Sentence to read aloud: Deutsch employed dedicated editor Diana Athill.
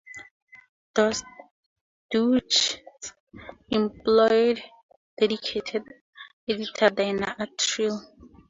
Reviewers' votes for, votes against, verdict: 0, 4, rejected